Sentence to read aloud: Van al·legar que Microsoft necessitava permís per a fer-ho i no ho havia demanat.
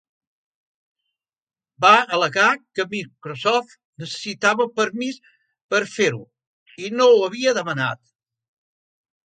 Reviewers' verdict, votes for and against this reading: rejected, 1, 3